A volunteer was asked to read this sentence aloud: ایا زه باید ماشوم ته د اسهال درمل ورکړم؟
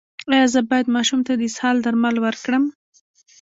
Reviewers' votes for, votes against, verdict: 1, 2, rejected